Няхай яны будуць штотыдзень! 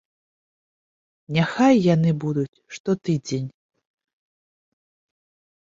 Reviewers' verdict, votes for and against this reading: accepted, 2, 0